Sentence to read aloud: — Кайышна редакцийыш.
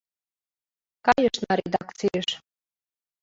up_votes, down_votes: 2, 0